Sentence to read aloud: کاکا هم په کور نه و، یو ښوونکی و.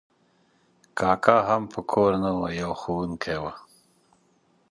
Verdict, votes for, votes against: accepted, 2, 0